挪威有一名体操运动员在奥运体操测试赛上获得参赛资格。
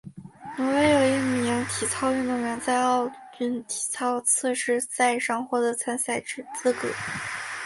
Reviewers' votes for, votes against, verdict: 0, 3, rejected